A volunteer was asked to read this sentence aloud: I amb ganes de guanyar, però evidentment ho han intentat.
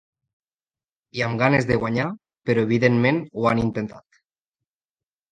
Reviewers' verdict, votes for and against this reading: accepted, 2, 0